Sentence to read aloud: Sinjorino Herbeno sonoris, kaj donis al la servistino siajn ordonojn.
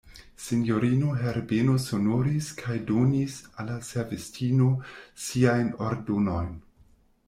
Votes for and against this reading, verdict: 1, 2, rejected